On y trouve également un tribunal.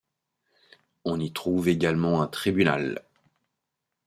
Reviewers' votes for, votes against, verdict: 5, 0, accepted